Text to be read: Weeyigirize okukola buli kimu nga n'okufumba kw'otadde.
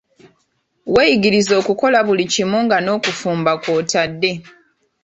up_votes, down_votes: 2, 0